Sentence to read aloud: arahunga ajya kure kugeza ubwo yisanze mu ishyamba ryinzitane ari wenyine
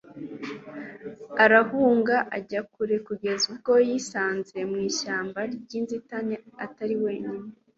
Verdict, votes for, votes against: rejected, 1, 2